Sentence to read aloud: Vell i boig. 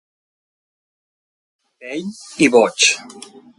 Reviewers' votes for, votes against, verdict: 1, 2, rejected